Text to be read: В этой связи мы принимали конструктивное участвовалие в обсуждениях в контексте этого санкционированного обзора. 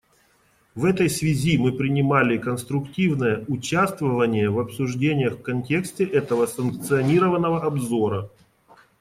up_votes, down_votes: 1, 2